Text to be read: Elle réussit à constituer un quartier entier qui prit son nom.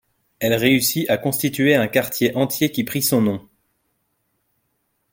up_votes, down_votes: 2, 0